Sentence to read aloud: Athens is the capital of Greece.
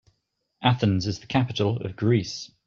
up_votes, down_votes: 2, 0